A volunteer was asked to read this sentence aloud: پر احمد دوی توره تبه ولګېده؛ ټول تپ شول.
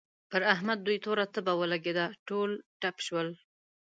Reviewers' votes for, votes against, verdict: 1, 2, rejected